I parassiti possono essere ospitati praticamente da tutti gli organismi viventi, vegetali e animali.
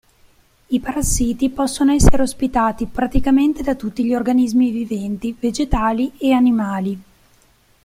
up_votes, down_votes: 3, 0